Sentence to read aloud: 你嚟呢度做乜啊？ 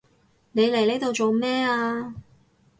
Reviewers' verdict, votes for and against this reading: rejected, 0, 4